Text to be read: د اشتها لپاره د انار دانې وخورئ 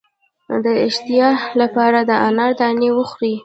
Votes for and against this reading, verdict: 0, 2, rejected